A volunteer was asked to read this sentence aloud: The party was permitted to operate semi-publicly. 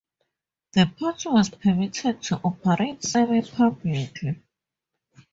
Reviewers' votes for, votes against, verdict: 2, 4, rejected